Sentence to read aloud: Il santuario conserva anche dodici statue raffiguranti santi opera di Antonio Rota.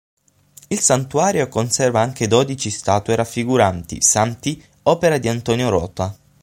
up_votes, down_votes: 6, 0